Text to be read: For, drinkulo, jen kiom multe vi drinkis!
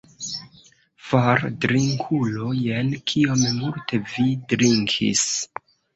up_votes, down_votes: 1, 2